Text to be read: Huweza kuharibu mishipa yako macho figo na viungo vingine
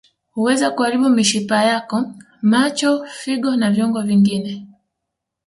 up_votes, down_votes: 2, 1